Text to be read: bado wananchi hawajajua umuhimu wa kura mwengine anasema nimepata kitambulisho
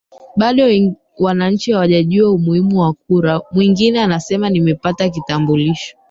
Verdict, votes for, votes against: rejected, 0, 3